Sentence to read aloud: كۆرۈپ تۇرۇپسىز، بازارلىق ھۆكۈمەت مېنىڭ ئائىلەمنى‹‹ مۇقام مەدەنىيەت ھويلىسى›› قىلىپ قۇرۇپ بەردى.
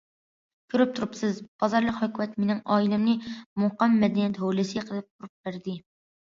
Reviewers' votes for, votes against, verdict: 1, 2, rejected